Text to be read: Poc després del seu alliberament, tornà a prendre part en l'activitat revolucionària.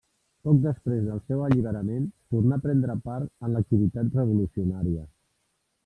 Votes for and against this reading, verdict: 3, 0, accepted